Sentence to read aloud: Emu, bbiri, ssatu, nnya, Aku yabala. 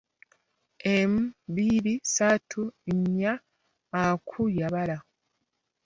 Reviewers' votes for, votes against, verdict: 2, 0, accepted